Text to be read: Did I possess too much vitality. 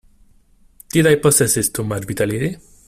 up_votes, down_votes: 1, 2